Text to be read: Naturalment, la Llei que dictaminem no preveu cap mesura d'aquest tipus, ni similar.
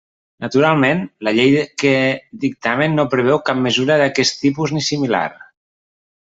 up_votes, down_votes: 0, 2